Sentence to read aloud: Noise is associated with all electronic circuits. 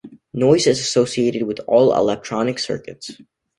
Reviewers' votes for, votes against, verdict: 2, 0, accepted